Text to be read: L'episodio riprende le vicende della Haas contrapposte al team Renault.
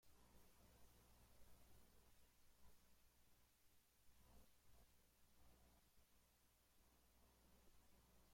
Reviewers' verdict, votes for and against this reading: rejected, 0, 2